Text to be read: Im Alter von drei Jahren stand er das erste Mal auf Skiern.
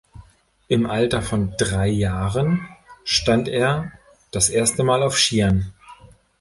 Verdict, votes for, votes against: accepted, 3, 0